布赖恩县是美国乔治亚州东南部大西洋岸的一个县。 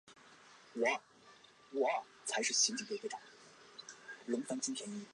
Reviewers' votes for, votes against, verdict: 0, 2, rejected